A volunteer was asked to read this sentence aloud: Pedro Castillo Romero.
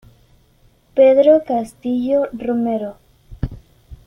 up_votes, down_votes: 2, 0